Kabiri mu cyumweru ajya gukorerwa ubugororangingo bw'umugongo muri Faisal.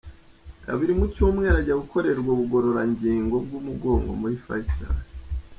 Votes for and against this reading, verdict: 2, 0, accepted